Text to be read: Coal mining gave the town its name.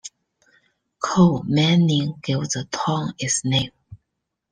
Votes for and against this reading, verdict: 1, 2, rejected